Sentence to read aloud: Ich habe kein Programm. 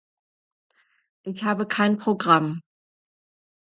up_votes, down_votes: 2, 0